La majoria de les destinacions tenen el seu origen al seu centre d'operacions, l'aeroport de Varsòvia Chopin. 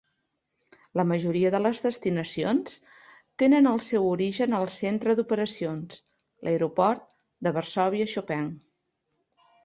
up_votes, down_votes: 0, 2